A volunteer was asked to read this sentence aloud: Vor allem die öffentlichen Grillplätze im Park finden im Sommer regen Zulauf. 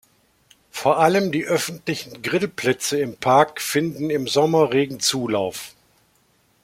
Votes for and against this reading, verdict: 2, 0, accepted